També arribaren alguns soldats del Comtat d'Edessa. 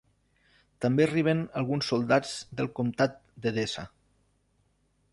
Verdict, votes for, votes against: rejected, 1, 2